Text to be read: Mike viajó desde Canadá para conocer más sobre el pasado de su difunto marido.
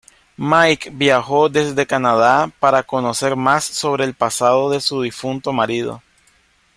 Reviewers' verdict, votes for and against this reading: accepted, 2, 0